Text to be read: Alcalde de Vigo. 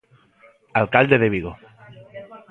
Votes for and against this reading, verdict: 2, 0, accepted